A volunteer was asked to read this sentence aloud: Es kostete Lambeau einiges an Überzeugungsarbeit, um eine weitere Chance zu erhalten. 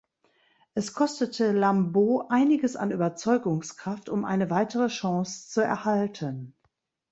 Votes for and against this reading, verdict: 1, 2, rejected